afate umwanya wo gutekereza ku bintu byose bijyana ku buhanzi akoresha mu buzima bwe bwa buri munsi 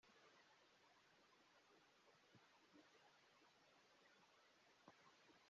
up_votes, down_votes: 1, 2